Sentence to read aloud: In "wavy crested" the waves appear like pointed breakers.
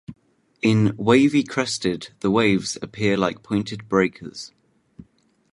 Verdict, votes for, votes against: accepted, 2, 0